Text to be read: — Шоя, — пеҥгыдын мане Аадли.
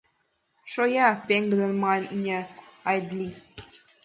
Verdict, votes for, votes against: rejected, 1, 2